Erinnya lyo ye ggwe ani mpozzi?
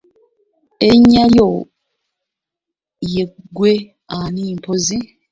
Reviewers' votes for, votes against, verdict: 0, 2, rejected